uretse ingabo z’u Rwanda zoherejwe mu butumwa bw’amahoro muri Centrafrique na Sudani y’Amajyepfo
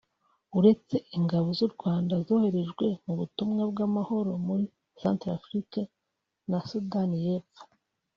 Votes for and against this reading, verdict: 1, 2, rejected